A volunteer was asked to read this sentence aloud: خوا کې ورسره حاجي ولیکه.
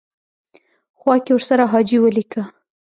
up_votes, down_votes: 1, 2